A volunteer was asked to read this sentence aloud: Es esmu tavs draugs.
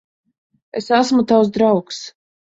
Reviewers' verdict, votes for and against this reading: accepted, 2, 0